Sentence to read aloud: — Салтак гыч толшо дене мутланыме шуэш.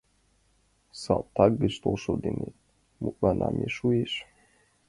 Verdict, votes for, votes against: rejected, 1, 2